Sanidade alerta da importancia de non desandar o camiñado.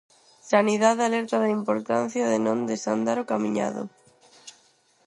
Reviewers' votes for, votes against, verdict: 2, 2, rejected